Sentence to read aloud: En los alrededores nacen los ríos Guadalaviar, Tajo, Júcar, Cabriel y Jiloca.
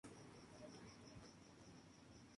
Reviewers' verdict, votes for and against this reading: rejected, 0, 2